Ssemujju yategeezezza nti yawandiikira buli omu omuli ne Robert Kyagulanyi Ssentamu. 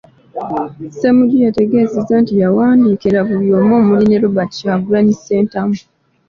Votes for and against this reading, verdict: 2, 0, accepted